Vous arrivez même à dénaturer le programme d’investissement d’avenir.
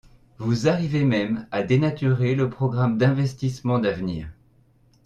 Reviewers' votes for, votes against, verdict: 2, 0, accepted